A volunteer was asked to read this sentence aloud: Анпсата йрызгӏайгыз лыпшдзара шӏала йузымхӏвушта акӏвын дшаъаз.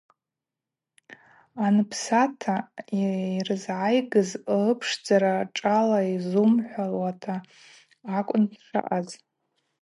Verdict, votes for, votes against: rejected, 2, 2